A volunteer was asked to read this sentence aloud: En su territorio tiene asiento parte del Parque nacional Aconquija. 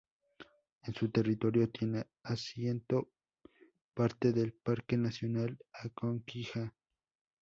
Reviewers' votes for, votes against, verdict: 2, 2, rejected